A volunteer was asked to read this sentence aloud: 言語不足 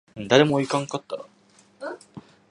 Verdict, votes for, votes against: rejected, 0, 2